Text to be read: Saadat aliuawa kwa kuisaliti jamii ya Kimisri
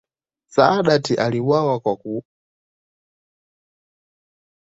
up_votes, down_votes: 0, 2